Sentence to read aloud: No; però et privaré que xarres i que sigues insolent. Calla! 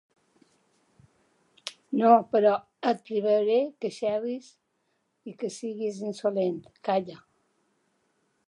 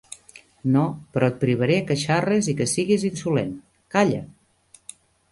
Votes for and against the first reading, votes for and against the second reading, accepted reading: 1, 2, 2, 0, second